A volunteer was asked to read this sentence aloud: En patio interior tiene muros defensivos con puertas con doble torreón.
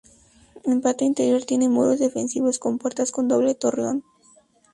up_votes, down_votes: 2, 0